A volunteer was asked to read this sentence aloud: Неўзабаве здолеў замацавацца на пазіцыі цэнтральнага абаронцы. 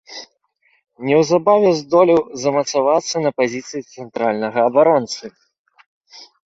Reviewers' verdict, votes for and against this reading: accepted, 2, 0